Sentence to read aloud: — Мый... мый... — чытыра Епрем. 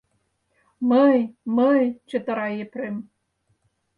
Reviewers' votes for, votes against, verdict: 4, 0, accepted